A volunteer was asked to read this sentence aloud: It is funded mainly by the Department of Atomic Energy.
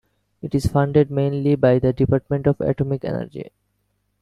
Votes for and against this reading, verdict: 2, 0, accepted